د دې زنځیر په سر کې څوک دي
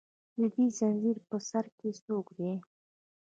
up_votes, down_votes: 0, 2